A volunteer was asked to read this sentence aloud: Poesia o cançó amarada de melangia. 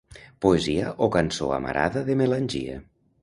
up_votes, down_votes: 2, 0